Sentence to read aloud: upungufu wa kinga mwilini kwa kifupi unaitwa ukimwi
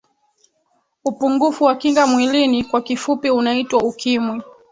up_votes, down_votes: 1, 3